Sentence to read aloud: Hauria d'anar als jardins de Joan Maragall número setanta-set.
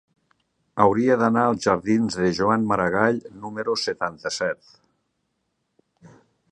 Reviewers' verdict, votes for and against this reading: accepted, 3, 0